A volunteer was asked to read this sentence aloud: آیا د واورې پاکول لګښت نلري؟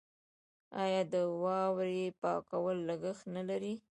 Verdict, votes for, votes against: rejected, 0, 2